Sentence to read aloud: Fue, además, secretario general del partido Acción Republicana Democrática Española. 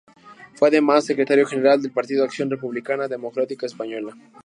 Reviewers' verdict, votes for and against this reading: accepted, 2, 0